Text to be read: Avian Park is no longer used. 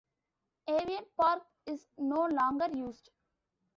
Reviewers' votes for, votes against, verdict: 2, 0, accepted